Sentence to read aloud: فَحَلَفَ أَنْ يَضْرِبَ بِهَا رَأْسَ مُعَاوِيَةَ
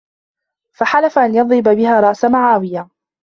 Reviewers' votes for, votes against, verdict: 2, 1, accepted